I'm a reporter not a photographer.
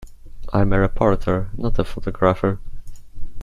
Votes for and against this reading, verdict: 2, 1, accepted